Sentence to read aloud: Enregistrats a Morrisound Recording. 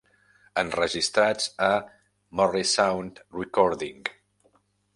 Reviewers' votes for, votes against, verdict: 1, 2, rejected